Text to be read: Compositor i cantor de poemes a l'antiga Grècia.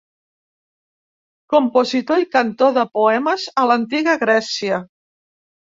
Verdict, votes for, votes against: accepted, 2, 0